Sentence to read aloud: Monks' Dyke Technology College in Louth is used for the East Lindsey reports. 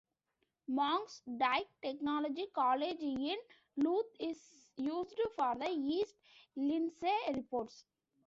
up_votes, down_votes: 2, 0